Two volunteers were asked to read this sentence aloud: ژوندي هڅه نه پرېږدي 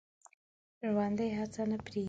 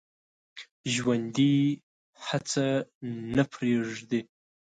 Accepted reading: second